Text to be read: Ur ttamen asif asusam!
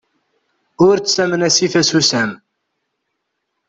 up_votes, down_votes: 2, 0